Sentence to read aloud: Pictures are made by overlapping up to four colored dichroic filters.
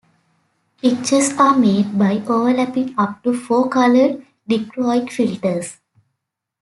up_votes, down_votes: 2, 0